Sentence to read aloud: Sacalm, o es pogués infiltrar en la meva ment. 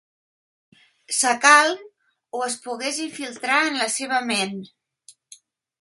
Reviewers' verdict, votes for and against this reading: rejected, 1, 2